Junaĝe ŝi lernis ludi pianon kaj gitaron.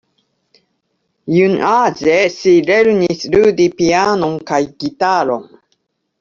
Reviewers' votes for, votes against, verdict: 2, 1, accepted